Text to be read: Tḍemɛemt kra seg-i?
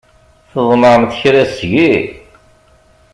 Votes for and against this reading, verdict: 3, 0, accepted